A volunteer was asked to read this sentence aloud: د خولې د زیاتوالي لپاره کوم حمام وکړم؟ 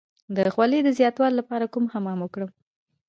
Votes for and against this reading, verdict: 0, 2, rejected